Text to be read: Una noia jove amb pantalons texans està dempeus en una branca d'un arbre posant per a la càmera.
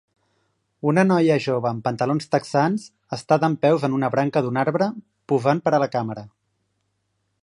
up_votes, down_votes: 3, 1